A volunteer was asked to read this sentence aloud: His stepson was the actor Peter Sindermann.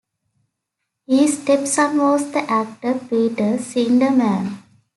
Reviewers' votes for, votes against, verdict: 1, 2, rejected